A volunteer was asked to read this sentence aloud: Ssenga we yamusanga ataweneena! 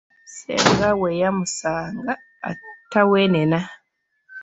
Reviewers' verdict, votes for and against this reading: rejected, 0, 2